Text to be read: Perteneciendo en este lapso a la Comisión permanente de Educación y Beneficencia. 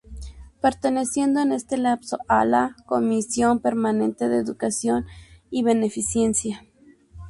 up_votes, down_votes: 2, 0